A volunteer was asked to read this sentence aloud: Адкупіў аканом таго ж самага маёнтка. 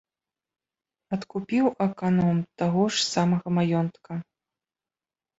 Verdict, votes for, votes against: accepted, 2, 0